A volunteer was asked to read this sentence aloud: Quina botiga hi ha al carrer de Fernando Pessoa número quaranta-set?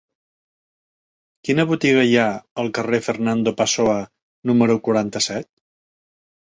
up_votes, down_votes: 0, 2